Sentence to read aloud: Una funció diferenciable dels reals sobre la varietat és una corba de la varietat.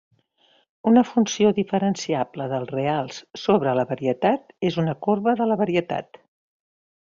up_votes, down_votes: 3, 0